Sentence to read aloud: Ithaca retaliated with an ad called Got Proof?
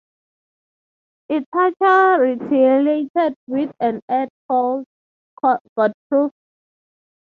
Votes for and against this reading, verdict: 3, 0, accepted